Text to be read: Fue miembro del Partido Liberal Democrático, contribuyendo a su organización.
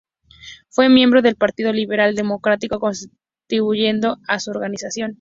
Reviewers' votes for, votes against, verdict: 0, 2, rejected